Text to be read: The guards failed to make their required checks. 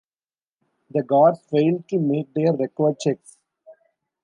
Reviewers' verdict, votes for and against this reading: accepted, 2, 0